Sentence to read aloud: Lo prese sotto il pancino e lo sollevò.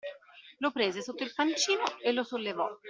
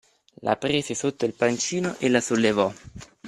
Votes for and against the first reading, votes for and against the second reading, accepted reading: 2, 0, 0, 2, first